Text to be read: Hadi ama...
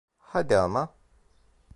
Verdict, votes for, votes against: rejected, 0, 2